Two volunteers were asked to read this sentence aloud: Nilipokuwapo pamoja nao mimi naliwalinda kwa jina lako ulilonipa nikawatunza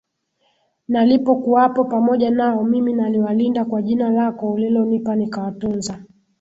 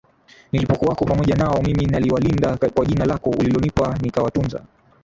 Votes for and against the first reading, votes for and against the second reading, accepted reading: 3, 4, 3, 1, second